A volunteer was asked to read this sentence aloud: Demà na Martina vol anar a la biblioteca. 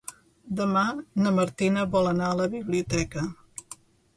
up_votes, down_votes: 2, 0